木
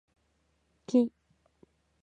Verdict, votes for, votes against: accepted, 2, 0